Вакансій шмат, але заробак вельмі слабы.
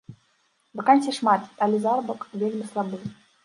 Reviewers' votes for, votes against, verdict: 0, 2, rejected